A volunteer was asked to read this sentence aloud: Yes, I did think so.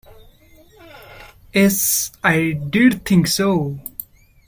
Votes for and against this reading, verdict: 1, 2, rejected